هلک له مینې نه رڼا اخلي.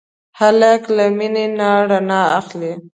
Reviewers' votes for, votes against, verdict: 2, 0, accepted